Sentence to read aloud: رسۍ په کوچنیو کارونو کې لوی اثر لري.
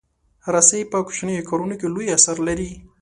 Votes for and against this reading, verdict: 2, 0, accepted